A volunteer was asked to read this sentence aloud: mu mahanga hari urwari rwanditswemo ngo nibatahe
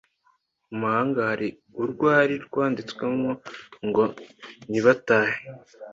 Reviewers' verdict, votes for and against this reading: accepted, 2, 0